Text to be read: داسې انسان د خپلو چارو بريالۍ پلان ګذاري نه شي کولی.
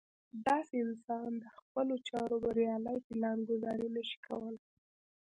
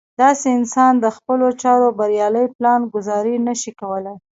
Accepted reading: first